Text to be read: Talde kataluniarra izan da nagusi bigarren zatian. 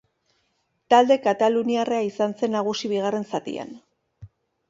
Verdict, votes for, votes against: rejected, 1, 2